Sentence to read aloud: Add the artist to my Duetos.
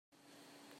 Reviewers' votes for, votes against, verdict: 0, 2, rejected